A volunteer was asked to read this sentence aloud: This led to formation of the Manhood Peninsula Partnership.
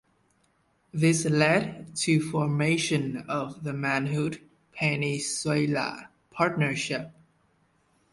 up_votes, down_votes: 0, 2